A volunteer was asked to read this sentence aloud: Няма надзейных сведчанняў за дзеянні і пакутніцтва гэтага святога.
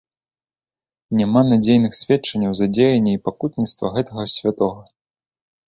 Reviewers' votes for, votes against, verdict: 2, 0, accepted